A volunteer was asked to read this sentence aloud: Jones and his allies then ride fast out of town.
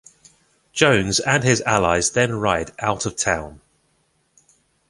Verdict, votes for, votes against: rejected, 0, 2